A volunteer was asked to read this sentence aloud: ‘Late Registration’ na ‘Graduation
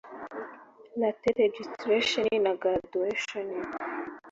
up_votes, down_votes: 2, 1